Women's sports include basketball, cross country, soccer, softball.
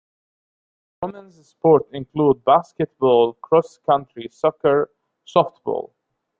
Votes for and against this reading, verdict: 0, 2, rejected